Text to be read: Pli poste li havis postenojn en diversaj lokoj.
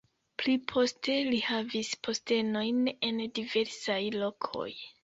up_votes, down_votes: 2, 0